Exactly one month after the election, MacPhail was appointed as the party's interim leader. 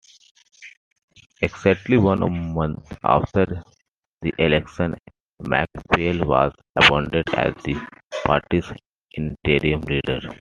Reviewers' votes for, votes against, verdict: 2, 3, rejected